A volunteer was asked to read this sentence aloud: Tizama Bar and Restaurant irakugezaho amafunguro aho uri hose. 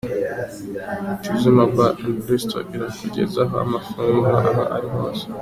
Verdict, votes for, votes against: rejected, 1, 2